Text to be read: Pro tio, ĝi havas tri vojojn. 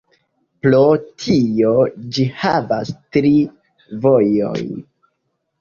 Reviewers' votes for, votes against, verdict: 1, 2, rejected